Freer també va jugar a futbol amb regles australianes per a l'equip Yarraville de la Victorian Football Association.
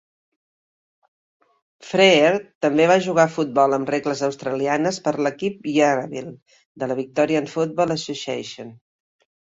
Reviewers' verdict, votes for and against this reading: accepted, 3, 0